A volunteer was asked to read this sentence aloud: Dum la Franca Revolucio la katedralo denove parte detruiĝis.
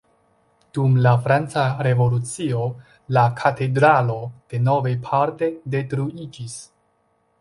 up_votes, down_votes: 2, 1